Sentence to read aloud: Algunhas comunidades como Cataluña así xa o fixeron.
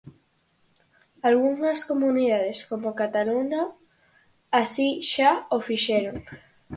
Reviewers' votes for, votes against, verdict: 4, 0, accepted